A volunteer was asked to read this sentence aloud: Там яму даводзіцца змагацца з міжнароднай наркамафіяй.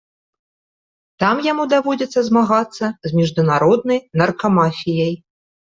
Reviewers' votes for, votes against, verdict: 0, 2, rejected